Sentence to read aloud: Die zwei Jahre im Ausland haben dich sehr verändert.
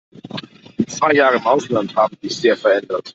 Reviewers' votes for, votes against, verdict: 2, 0, accepted